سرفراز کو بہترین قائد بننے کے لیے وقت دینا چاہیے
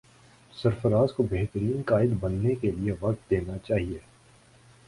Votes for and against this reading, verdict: 4, 2, accepted